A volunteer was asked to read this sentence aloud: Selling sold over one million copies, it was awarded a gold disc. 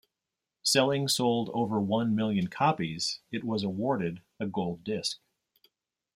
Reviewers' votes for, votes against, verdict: 2, 0, accepted